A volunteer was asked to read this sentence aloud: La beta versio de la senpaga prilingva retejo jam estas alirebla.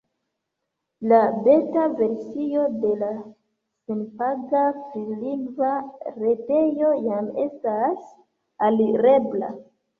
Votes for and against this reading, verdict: 0, 2, rejected